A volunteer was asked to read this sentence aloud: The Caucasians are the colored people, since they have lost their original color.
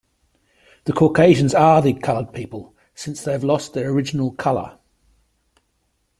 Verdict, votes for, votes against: accepted, 2, 0